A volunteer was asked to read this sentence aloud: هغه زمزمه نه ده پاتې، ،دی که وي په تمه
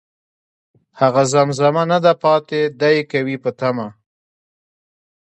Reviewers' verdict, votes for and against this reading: rejected, 1, 2